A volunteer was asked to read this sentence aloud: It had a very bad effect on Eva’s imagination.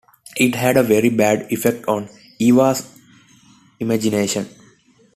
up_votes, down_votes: 2, 0